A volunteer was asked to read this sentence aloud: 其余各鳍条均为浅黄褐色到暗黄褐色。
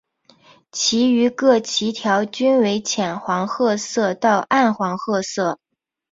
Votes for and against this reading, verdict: 4, 0, accepted